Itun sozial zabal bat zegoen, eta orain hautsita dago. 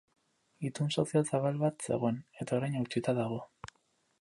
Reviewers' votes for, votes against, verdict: 6, 8, rejected